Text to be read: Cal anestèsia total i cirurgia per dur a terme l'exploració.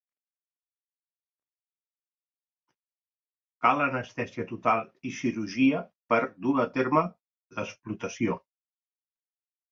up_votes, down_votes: 0, 2